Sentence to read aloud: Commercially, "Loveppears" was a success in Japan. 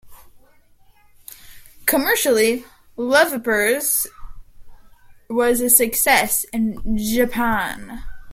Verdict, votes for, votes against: rejected, 0, 2